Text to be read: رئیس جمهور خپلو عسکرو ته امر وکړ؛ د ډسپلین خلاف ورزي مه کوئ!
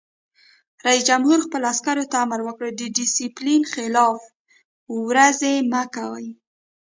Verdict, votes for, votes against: rejected, 0, 2